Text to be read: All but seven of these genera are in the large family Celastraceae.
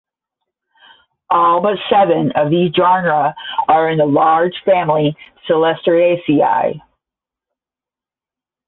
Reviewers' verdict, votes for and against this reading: rejected, 5, 5